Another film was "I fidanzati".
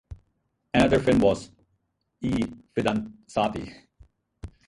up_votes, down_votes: 0, 4